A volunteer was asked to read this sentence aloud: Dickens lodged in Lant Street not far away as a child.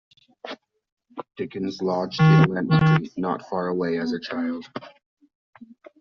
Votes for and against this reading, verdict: 1, 2, rejected